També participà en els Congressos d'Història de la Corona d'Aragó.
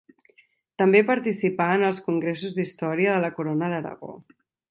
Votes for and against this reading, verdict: 4, 0, accepted